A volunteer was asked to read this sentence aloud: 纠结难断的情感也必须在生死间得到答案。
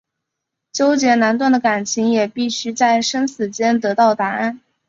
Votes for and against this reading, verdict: 6, 5, accepted